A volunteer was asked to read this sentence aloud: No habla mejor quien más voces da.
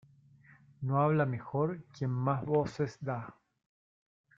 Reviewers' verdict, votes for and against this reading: accepted, 2, 1